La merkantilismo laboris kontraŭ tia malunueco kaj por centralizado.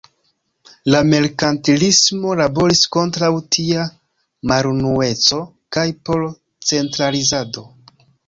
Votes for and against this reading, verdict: 2, 1, accepted